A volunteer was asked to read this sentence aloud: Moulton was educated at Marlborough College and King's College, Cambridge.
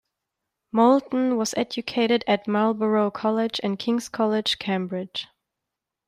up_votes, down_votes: 2, 0